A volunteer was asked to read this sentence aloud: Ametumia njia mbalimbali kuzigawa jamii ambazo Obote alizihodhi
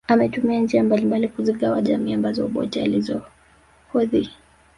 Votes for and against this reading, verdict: 2, 1, accepted